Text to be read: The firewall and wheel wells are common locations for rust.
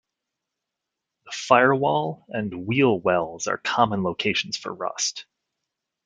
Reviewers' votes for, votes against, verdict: 2, 1, accepted